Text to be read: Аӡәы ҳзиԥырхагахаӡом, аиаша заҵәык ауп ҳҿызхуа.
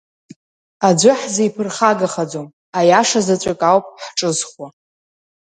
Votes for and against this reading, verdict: 3, 0, accepted